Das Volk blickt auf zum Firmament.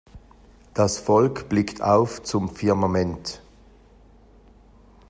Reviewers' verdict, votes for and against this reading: accepted, 2, 0